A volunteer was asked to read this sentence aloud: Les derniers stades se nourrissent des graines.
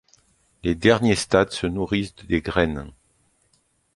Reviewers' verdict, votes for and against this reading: rejected, 1, 2